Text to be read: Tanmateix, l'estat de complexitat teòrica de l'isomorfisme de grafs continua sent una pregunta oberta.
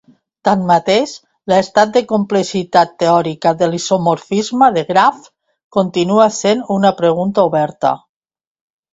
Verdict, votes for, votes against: accepted, 2, 0